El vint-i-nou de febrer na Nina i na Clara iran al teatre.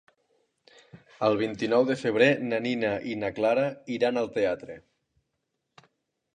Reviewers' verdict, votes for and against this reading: accepted, 3, 0